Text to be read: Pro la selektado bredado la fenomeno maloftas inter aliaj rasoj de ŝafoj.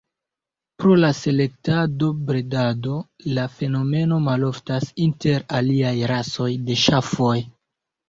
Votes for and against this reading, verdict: 2, 1, accepted